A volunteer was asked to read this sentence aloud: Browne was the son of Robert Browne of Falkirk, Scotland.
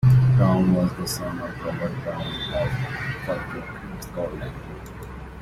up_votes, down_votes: 2, 1